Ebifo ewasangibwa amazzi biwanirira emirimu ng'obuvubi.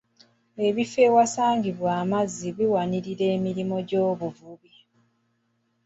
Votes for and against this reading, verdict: 2, 0, accepted